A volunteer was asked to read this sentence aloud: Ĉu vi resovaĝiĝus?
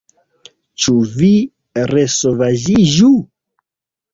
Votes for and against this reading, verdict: 0, 2, rejected